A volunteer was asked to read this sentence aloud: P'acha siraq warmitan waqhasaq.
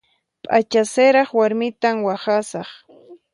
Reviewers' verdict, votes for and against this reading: accepted, 4, 0